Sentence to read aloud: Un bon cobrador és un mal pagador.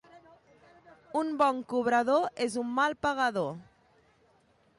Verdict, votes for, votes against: accepted, 2, 0